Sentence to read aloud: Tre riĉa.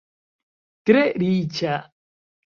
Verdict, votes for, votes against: accepted, 3, 0